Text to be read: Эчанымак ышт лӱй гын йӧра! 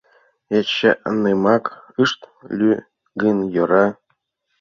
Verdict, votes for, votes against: rejected, 1, 2